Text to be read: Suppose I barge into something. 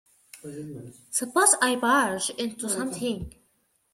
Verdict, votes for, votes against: rejected, 1, 2